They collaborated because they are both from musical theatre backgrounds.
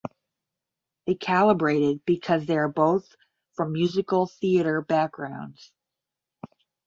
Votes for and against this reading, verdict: 10, 0, accepted